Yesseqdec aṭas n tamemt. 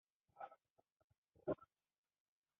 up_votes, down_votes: 1, 2